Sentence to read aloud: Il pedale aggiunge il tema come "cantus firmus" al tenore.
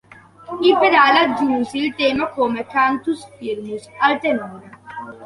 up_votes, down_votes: 1, 2